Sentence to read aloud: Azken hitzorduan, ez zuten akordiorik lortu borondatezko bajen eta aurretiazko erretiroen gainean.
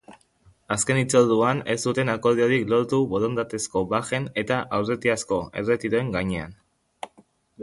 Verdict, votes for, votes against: accepted, 2, 1